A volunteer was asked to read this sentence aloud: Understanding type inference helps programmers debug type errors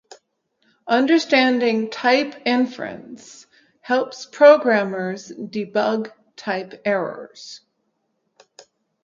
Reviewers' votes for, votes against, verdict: 2, 0, accepted